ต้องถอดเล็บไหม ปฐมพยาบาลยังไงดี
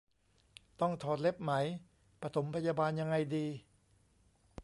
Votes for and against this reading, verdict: 2, 0, accepted